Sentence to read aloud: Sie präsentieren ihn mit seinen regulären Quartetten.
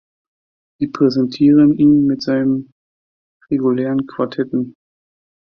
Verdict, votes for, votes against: accepted, 2, 0